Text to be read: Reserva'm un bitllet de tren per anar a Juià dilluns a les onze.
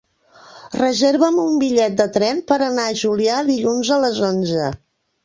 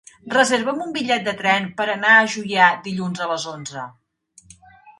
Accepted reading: second